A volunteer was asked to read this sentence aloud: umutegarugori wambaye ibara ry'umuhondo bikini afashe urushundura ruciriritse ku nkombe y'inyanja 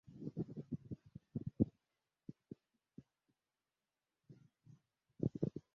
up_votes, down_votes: 0, 2